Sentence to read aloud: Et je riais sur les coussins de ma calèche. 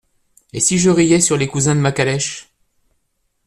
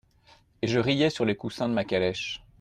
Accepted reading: second